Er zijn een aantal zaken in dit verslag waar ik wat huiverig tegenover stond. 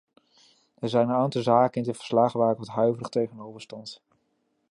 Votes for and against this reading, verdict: 2, 1, accepted